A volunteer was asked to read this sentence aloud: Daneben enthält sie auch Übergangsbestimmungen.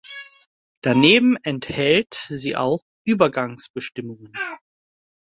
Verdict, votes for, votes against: accepted, 2, 0